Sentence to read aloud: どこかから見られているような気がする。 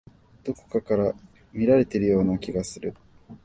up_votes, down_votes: 1, 2